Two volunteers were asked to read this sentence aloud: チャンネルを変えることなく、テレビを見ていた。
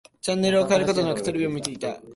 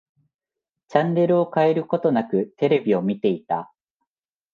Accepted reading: second